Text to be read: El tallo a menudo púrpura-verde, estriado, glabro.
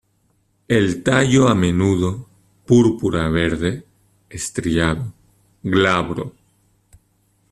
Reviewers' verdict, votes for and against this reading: rejected, 1, 2